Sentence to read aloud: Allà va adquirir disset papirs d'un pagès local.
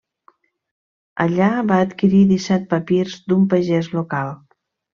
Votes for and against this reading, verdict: 2, 1, accepted